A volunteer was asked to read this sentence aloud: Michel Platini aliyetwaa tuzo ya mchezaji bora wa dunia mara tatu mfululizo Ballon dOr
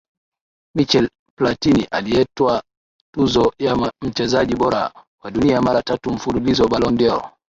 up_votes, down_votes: 0, 2